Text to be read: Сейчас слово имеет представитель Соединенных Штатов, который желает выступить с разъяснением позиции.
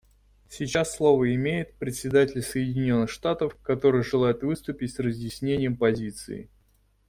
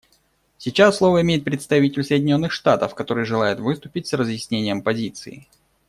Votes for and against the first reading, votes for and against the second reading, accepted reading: 0, 2, 2, 0, second